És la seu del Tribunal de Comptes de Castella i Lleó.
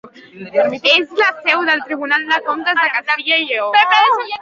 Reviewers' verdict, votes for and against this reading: rejected, 0, 2